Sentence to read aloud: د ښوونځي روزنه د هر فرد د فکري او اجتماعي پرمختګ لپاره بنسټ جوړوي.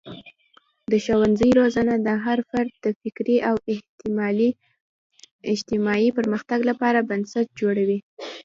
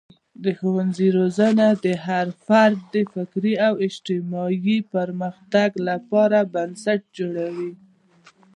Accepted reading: first